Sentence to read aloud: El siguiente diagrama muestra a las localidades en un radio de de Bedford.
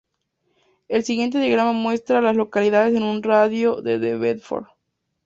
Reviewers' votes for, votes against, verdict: 2, 0, accepted